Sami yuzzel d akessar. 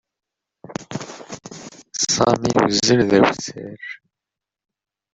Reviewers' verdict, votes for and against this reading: rejected, 0, 2